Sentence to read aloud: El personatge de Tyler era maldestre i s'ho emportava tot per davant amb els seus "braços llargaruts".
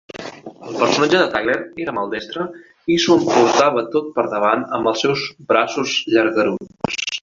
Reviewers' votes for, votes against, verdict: 2, 0, accepted